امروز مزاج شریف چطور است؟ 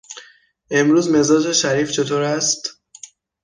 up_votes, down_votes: 3, 6